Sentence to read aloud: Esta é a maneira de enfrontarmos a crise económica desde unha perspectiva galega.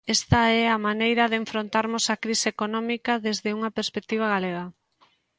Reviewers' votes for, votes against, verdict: 2, 0, accepted